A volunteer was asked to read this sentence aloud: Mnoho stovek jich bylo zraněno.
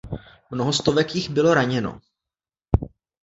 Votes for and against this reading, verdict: 0, 2, rejected